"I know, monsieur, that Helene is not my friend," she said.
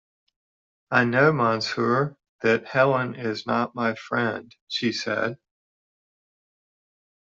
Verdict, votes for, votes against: accepted, 2, 0